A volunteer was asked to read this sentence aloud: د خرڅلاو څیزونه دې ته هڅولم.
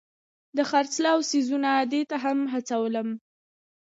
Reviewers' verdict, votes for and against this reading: accepted, 2, 0